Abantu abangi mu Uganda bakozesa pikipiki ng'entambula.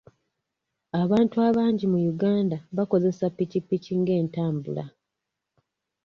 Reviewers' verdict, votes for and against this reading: rejected, 1, 2